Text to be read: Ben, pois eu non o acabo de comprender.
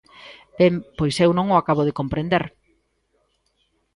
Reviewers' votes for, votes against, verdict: 2, 0, accepted